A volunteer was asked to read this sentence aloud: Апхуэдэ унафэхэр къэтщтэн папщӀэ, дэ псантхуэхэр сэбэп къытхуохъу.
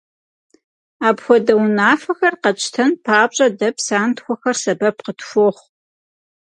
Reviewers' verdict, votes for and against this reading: accepted, 4, 0